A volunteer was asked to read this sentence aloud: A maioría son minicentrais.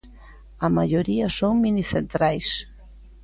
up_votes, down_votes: 2, 0